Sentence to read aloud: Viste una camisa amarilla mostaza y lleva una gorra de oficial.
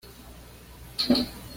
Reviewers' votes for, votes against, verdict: 1, 2, rejected